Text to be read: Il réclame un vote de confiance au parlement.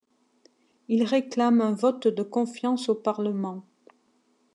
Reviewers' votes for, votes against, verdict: 2, 0, accepted